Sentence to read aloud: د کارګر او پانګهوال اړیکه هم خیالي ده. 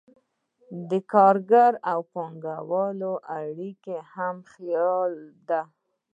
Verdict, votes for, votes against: accepted, 2, 0